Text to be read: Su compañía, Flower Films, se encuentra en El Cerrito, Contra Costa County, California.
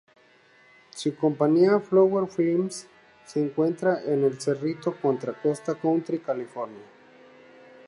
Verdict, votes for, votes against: accepted, 4, 0